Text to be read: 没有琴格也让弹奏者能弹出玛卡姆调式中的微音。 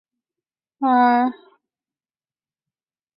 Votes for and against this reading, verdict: 0, 2, rejected